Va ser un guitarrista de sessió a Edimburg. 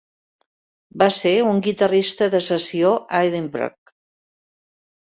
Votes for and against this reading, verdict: 1, 3, rejected